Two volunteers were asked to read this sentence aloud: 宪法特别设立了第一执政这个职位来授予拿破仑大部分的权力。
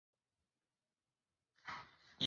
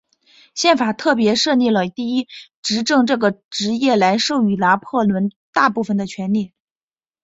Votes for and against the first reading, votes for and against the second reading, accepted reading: 0, 3, 2, 0, second